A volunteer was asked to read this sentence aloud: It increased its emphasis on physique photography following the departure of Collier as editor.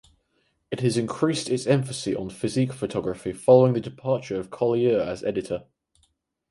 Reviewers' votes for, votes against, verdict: 2, 4, rejected